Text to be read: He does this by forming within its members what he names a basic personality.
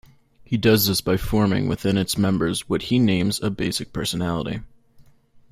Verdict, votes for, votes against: accepted, 2, 0